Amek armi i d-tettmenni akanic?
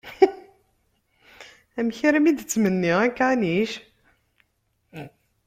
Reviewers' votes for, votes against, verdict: 1, 2, rejected